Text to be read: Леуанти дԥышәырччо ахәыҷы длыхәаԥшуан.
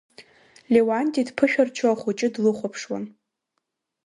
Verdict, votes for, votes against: accepted, 2, 1